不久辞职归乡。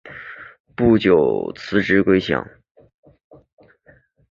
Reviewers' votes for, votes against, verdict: 2, 0, accepted